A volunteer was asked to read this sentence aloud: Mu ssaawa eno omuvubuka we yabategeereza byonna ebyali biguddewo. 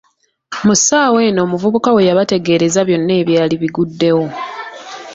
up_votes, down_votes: 2, 1